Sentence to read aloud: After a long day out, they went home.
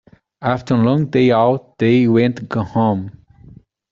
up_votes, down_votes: 1, 2